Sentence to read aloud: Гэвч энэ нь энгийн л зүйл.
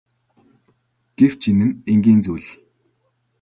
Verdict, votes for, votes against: accepted, 2, 0